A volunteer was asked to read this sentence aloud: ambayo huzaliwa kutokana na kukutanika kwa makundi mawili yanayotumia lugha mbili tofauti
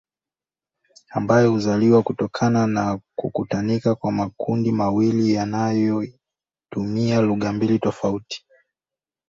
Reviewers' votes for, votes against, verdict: 1, 2, rejected